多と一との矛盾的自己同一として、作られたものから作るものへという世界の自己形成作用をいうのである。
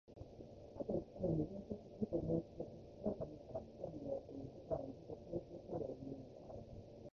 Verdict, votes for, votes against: rejected, 0, 2